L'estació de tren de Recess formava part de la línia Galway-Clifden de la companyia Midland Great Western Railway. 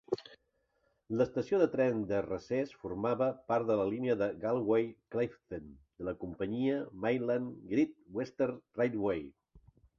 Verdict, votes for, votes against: rejected, 1, 2